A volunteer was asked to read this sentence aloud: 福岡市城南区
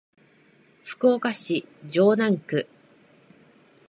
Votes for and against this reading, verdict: 2, 0, accepted